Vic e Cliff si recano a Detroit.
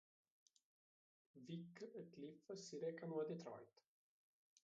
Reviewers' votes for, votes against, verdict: 2, 3, rejected